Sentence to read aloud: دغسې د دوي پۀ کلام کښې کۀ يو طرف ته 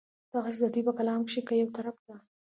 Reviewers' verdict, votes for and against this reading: accepted, 2, 0